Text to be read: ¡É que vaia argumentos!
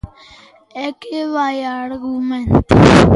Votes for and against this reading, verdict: 1, 2, rejected